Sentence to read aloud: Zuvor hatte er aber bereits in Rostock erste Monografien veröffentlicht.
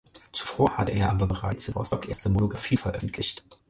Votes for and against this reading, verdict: 2, 4, rejected